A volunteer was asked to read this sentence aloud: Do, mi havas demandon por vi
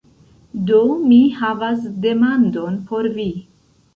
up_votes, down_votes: 2, 0